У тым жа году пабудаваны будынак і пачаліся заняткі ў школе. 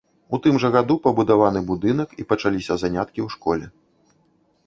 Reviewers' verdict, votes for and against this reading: rejected, 0, 2